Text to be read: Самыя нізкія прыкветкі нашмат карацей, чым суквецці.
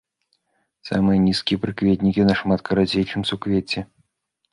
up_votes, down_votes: 1, 2